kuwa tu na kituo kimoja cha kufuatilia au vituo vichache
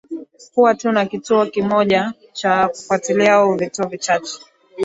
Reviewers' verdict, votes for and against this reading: accepted, 2, 0